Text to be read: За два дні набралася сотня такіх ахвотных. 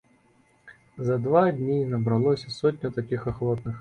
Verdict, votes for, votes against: rejected, 0, 2